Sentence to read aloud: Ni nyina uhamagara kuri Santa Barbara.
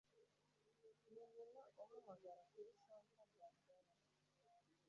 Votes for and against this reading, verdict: 0, 2, rejected